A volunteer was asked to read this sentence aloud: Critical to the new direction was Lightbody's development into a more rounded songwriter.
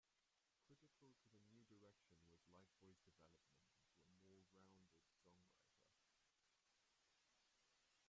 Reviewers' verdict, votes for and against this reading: rejected, 0, 2